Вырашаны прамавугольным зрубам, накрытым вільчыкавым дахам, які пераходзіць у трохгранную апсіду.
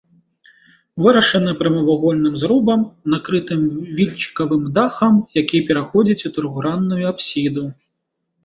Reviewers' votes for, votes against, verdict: 2, 3, rejected